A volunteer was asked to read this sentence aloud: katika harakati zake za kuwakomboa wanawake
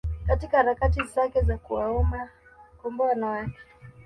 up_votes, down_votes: 1, 2